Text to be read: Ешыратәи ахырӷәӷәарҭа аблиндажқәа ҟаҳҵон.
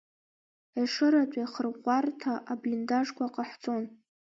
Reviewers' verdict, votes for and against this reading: accepted, 2, 1